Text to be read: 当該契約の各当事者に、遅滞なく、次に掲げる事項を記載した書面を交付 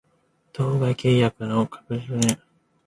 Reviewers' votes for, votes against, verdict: 0, 2, rejected